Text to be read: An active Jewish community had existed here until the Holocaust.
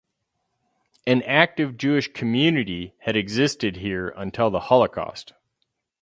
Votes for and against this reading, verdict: 4, 0, accepted